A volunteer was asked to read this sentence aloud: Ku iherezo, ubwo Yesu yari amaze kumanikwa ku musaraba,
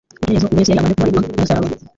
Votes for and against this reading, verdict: 2, 0, accepted